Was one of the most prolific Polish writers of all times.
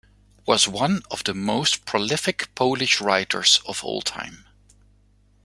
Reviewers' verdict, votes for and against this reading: accepted, 2, 1